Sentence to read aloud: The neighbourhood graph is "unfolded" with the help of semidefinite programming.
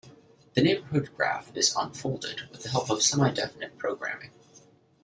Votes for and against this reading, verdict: 2, 0, accepted